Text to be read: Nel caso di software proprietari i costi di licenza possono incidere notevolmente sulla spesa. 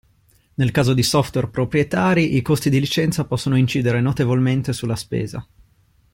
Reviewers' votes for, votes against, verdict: 2, 0, accepted